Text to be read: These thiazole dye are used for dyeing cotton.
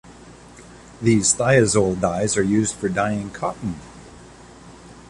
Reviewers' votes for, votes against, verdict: 1, 2, rejected